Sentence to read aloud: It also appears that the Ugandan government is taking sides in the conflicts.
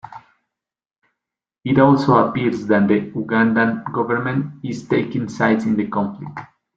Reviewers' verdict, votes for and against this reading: accepted, 2, 0